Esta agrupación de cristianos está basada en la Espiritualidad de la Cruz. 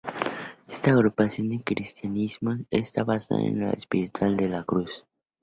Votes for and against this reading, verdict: 0, 2, rejected